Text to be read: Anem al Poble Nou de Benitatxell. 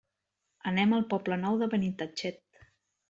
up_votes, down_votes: 1, 2